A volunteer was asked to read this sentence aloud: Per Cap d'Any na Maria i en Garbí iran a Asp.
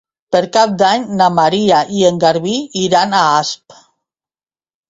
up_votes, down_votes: 2, 0